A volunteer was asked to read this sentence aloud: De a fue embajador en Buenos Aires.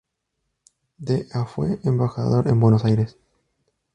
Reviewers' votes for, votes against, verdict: 2, 0, accepted